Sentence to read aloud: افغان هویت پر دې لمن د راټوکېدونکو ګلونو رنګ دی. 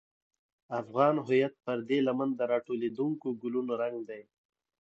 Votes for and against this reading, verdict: 1, 2, rejected